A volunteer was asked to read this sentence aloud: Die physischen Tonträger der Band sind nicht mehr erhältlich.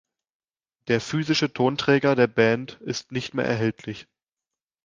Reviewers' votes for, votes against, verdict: 0, 2, rejected